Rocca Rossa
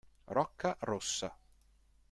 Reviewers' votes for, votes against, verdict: 2, 0, accepted